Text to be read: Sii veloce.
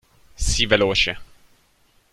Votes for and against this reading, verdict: 2, 0, accepted